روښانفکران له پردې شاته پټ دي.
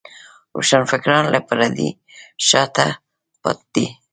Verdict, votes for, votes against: accepted, 2, 1